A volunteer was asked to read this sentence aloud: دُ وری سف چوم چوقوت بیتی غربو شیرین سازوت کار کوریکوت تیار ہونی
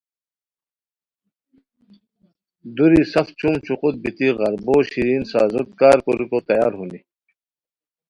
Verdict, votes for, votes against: accepted, 2, 0